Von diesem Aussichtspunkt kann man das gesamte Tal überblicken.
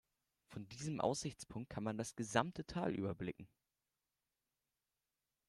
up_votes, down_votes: 2, 0